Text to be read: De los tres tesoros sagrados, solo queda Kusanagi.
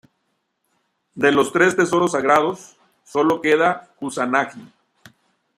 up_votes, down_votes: 1, 2